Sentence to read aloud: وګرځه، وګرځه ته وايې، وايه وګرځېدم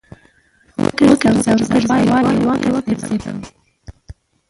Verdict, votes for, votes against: rejected, 0, 2